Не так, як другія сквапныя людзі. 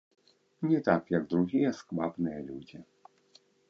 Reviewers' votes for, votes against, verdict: 1, 2, rejected